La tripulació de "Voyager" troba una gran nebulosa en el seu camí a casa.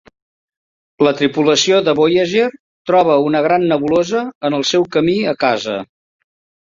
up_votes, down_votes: 2, 0